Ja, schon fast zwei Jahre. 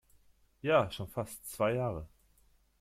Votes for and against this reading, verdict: 2, 0, accepted